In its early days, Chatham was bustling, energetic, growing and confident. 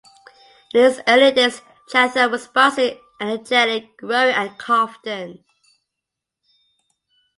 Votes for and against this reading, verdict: 2, 0, accepted